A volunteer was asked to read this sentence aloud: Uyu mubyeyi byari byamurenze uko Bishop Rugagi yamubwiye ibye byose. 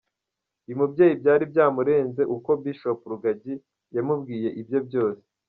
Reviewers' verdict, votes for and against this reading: rejected, 1, 2